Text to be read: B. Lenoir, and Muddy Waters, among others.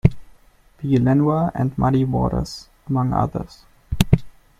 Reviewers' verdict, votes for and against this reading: accepted, 2, 0